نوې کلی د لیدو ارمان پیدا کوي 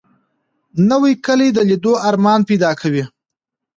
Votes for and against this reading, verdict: 2, 0, accepted